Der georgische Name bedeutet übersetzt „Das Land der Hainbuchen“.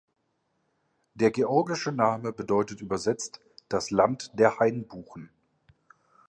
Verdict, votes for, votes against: accepted, 3, 0